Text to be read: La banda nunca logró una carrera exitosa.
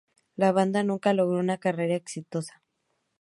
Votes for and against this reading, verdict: 2, 0, accepted